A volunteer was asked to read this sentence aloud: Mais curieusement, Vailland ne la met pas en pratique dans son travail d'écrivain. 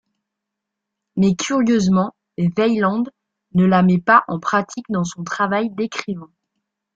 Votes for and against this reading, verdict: 2, 1, accepted